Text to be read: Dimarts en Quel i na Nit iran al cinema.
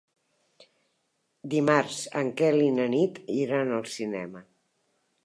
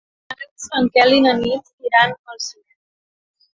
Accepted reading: first